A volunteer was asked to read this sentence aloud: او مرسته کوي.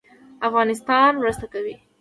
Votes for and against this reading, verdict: 2, 1, accepted